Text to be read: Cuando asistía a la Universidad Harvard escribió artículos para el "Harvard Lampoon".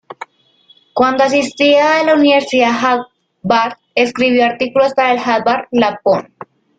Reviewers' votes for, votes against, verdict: 0, 2, rejected